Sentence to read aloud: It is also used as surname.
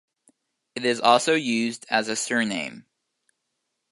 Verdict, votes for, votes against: rejected, 1, 2